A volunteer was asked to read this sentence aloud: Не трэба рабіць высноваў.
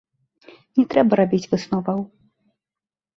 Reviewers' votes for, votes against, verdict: 2, 0, accepted